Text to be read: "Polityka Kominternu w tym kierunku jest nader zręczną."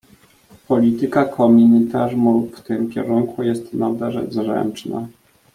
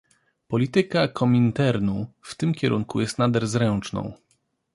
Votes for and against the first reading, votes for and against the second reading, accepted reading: 0, 2, 2, 0, second